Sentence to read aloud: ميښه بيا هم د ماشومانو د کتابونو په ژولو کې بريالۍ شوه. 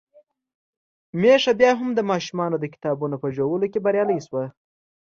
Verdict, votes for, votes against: accepted, 2, 0